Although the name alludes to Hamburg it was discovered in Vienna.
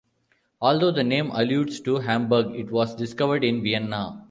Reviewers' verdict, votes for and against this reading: accepted, 2, 0